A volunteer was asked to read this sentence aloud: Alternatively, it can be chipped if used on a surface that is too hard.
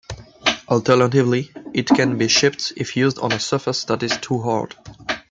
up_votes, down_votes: 1, 2